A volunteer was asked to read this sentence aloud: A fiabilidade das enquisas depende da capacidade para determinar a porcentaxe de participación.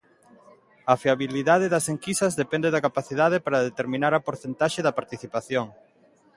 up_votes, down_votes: 0, 2